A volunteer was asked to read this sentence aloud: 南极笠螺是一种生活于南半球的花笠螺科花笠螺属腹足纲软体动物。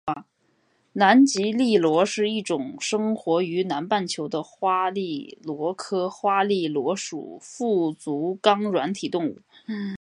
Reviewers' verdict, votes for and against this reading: accepted, 2, 1